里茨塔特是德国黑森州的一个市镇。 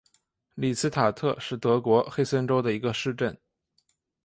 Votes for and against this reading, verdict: 3, 0, accepted